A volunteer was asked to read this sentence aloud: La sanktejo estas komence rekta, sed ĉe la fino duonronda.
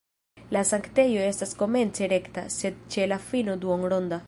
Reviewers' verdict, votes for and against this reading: rejected, 0, 2